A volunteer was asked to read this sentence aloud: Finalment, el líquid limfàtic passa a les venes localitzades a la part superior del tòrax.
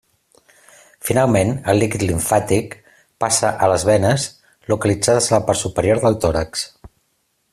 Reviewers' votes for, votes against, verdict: 2, 0, accepted